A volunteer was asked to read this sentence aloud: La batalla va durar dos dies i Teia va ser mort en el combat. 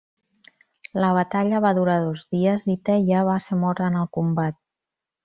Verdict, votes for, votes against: accepted, 2, 0